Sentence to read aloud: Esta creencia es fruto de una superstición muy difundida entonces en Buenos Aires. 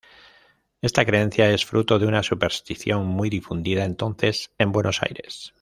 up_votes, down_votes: 2, 1